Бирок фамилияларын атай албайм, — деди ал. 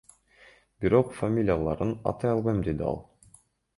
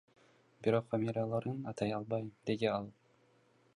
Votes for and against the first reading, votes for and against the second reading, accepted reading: 2, 0, 0, 2, first